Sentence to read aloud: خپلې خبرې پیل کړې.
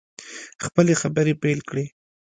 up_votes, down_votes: 2, 0